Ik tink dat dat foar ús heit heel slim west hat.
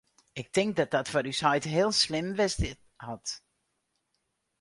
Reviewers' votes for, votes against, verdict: 2, 4, rejected